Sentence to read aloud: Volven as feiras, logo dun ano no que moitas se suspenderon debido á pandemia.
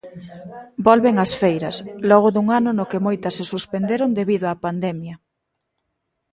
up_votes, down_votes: 1, 2